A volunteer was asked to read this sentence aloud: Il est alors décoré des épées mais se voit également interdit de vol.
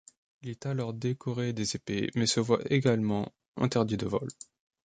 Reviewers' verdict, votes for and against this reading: accepted, 2, 1